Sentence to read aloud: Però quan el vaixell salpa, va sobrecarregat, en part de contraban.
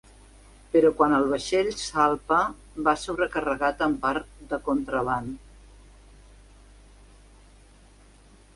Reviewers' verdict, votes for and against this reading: rejected, 1, 2